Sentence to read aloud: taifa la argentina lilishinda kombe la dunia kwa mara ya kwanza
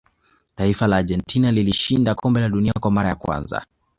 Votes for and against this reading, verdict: 2, 0, accepted